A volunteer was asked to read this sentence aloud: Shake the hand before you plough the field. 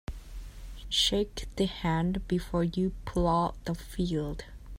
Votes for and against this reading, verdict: 0, 2, rejected